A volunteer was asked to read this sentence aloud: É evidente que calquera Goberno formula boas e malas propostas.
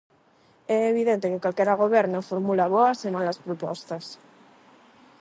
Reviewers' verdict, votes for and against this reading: accepted, 8, 0